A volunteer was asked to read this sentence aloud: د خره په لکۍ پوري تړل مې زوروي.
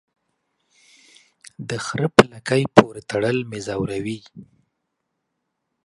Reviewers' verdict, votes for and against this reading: accepted, 2, 1